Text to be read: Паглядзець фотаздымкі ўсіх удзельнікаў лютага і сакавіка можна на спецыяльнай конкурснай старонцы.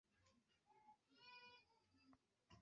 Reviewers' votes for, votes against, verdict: 0, 2, rejected